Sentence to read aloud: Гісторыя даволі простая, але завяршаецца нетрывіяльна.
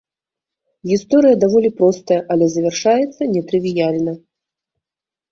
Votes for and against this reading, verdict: 2, 0, accepted